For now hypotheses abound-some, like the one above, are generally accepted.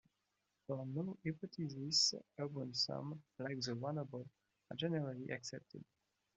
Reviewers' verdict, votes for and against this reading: rejected, 0, 2